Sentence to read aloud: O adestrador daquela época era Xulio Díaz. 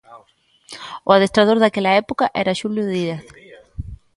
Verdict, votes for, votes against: rejected, 0, 2